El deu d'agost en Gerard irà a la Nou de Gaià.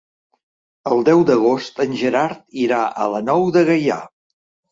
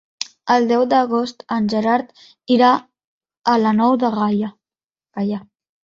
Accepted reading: first